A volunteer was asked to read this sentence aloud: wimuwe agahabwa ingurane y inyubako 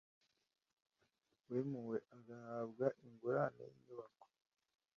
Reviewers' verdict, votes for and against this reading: accepted, 2, 0